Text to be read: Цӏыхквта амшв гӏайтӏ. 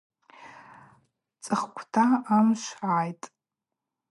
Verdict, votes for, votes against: accepted, 2, 0